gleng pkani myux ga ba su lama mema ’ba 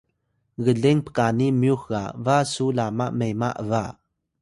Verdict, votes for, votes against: accepted, 2, 0